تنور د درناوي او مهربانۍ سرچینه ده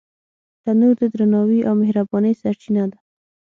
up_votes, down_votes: 6, 0